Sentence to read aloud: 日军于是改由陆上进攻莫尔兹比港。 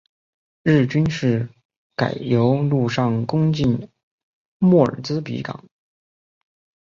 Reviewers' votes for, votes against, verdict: 2, 0, accepted